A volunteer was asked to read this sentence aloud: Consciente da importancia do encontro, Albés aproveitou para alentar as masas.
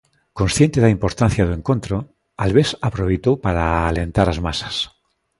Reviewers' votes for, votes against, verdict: 2, 0, accepted